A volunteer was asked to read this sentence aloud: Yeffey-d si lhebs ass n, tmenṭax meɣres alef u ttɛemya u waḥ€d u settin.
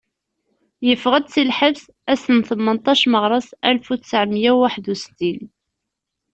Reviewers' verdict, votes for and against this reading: rejected, 0, 2